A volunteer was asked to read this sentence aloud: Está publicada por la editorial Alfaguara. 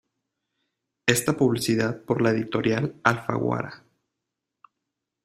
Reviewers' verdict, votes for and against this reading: rejected, 0, 2